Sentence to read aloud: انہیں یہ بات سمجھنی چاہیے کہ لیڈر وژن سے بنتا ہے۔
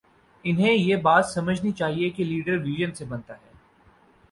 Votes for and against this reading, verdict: 8, 0, accepted